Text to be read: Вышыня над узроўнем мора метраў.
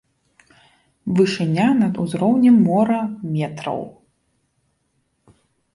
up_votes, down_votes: 2, 0